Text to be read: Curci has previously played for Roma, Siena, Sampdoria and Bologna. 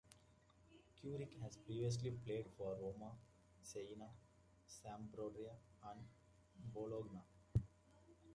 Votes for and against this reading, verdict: 2, 1, accepted